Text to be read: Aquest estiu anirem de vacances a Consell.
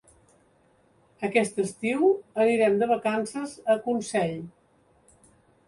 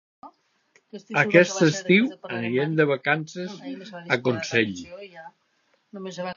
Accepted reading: first